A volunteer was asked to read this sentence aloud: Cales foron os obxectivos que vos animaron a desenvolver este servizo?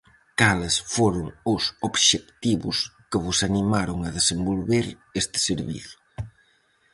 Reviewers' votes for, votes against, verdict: 4, 0, accepted